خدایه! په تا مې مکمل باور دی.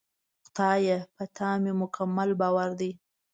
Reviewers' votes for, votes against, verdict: 2, 0, accepted